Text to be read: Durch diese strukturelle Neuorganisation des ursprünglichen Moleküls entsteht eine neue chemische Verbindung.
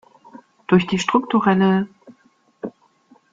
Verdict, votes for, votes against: rejected, 0, 2